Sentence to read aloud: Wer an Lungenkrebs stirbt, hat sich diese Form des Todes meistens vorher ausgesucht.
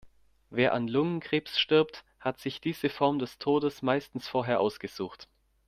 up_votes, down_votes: 2, 0